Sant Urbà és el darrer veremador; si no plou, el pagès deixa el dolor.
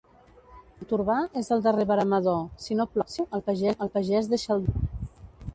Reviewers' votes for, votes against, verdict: 0, 2, rejected